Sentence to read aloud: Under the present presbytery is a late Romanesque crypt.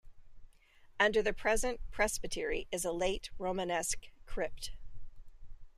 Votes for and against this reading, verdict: 2, 0, accepted